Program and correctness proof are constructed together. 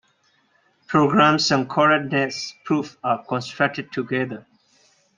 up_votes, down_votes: 0, 2